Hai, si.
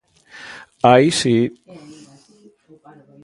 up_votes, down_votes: 0, 2